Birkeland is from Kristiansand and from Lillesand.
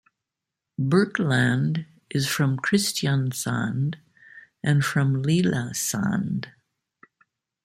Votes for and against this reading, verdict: 1, 2, rejected